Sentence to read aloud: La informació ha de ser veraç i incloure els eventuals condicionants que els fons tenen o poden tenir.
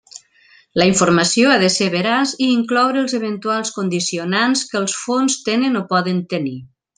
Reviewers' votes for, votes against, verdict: 3, 0, accepted